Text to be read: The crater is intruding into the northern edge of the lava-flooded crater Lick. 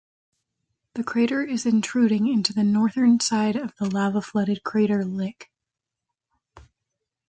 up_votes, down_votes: 0, 2